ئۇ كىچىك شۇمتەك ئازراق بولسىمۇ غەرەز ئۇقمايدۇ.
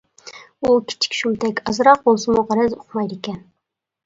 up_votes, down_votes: 0, 2